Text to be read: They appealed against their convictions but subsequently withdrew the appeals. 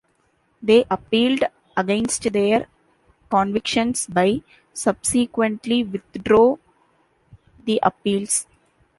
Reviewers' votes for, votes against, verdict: 1, 2, rejected